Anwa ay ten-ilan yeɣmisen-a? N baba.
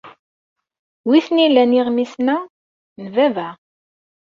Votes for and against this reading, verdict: 1, 2, rejected